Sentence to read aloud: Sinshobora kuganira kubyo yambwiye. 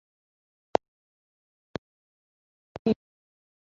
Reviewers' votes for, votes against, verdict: 1, 2, rejected